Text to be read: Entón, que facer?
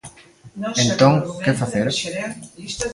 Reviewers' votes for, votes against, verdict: 0, 2, rejected